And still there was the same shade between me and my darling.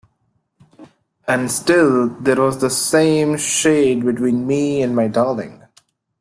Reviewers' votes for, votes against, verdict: 2, 0, accepted